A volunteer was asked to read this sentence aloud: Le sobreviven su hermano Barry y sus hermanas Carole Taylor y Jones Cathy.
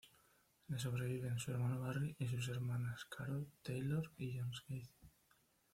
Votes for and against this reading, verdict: 2, 0, accepted